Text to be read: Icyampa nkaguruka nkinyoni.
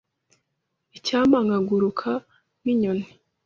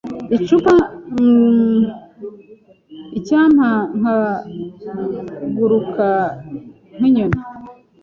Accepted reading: first